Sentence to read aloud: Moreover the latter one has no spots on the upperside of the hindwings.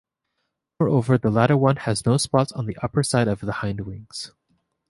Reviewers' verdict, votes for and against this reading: accepted, 2, 0